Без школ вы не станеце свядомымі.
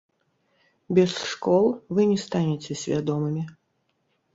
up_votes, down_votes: 1, 3